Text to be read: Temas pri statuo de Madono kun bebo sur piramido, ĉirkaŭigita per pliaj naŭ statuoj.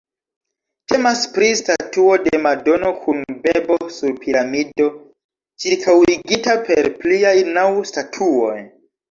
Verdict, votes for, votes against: accepted, 2, 1